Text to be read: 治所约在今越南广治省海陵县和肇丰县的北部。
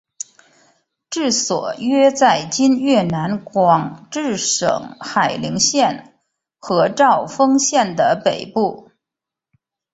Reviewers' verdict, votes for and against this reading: accepted, 2, 0